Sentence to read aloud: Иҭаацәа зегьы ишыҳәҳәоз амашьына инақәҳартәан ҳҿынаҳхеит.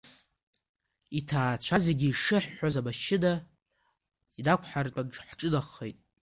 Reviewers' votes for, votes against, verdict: 1, 2, rejected